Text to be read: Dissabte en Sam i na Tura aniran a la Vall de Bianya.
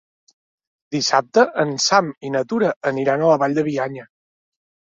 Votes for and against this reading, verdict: 2, 0, accepted